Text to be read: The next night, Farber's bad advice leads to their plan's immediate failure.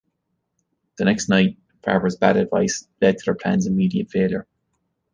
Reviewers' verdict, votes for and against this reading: rejected, 0, 2